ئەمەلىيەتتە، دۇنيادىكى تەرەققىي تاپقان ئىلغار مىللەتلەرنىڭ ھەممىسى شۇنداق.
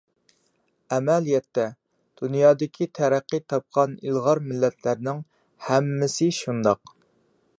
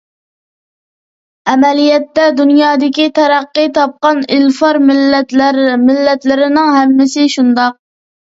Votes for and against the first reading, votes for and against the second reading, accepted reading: 2, 0, 1, 2, first